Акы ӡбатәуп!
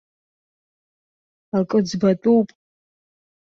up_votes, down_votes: 2, 0